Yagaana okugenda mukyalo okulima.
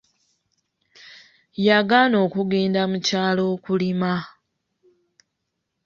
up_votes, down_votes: 2, 0